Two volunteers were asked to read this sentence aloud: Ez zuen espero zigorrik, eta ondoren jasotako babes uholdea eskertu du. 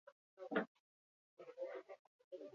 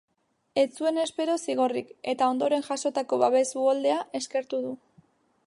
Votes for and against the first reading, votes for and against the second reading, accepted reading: 0, 2, 2, 0, second